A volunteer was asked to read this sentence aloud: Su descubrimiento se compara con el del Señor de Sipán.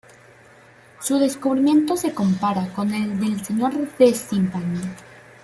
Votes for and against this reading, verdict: 0, 2, rejected